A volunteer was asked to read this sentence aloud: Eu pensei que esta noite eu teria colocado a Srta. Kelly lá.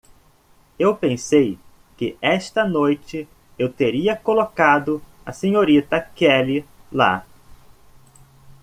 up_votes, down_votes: 2, 0